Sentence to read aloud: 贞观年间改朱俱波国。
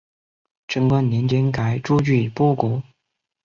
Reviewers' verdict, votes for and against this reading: accepted, 2, 0